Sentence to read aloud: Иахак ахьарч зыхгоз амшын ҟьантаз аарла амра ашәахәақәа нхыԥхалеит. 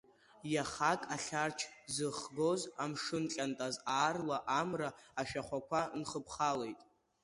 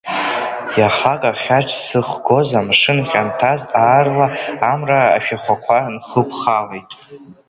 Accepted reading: first